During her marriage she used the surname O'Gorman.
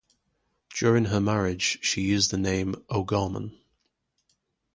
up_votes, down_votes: 0, 2